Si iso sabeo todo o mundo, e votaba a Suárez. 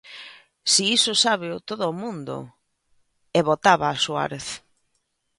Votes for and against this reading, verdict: 1, 2, rejected